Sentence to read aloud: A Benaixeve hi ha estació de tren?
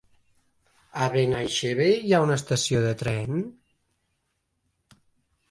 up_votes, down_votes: 1, 2